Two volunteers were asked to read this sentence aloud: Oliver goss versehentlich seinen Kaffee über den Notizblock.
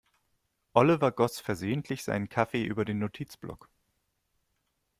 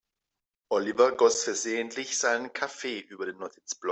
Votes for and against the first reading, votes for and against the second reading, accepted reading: 2, 0, 0, 2, first